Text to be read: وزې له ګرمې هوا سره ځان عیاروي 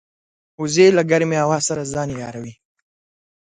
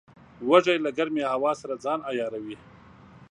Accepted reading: first